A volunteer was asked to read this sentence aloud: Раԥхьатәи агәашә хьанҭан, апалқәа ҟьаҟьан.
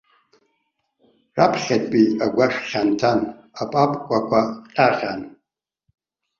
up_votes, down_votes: 0, 2